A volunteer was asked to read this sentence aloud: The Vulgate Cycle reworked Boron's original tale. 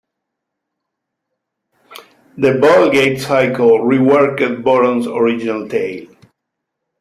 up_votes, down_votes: 2, 1